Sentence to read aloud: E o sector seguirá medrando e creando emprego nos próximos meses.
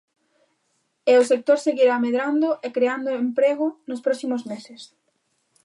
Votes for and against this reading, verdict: 2, 0, accepted